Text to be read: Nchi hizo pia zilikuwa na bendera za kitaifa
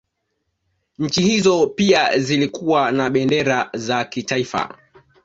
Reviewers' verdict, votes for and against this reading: accepted, 2, 0